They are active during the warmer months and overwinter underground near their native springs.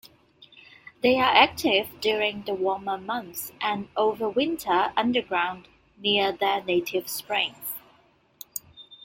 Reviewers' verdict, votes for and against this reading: accepted, 2, 0